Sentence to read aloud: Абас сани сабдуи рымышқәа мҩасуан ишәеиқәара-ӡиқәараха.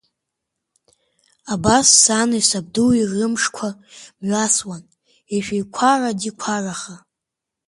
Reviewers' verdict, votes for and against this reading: accepted, 2, 0